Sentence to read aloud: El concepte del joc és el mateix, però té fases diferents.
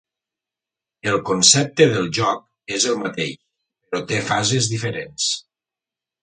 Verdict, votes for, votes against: accepted, 3, 0